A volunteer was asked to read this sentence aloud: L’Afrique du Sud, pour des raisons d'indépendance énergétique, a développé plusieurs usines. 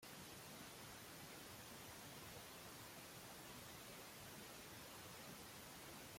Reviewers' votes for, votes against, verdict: 0, 2, rejected